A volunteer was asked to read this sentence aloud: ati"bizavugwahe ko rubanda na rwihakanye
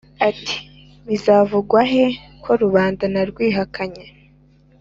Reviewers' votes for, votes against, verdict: 2, 0, accepted